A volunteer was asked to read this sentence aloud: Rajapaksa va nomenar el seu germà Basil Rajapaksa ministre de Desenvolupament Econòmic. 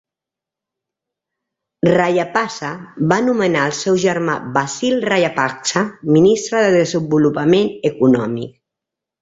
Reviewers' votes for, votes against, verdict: 0, 2, rejected